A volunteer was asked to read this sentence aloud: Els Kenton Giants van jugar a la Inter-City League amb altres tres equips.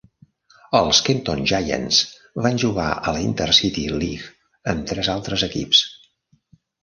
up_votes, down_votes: 1, 2